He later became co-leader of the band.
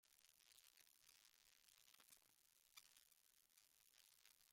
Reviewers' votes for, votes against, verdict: 0, 2, rejected